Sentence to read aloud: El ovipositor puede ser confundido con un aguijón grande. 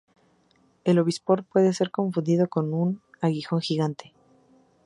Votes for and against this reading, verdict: 0, 2, rejected